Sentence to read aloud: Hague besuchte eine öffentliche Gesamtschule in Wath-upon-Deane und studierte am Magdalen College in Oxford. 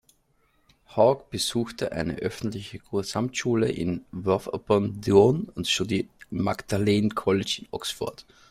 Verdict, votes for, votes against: rejected, 1, 2